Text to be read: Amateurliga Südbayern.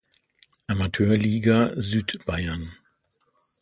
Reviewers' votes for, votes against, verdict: 2, 0, accepted